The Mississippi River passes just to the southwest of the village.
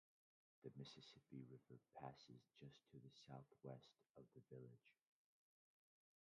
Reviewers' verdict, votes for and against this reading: rejected, 0, 2